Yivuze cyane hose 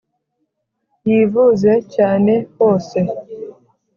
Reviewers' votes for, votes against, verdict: 3, 0, accepted